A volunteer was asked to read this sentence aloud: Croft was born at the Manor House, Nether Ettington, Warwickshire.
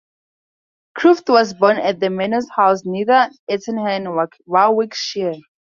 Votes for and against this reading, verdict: 2, 2, rejected